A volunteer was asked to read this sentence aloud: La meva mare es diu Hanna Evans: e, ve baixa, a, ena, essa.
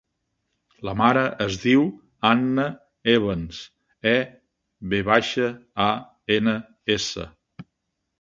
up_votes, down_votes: 1, 2